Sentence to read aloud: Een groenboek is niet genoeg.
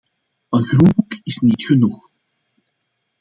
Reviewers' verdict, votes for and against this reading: accepted, 2, 1